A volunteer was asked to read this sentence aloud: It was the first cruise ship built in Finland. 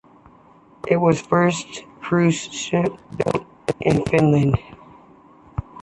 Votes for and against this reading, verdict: 0, 2, rejected